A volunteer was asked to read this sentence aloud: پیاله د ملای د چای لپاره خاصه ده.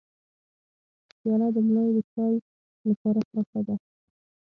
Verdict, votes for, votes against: rejected, 0, 6